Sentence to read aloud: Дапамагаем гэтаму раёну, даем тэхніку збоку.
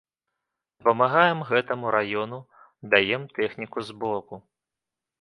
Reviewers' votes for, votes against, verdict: 1, 2, rejected